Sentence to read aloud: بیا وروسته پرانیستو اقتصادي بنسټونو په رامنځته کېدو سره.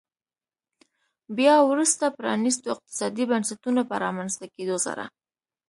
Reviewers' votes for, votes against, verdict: 2, 0, accepted